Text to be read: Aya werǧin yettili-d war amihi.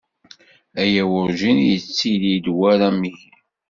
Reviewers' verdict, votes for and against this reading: accepted, 2, 1